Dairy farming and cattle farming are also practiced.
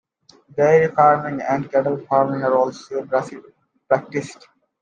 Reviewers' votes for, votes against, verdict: 0, 2, rejected